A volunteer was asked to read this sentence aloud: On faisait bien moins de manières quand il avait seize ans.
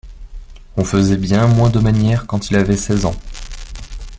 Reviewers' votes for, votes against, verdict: 2, 0, accepted